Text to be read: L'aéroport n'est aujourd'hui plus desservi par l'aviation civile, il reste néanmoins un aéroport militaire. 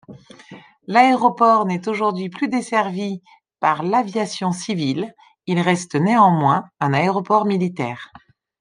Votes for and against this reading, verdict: 2, 0, accepted